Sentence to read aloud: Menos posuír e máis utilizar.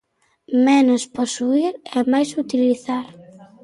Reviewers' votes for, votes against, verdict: 2, 0, accepted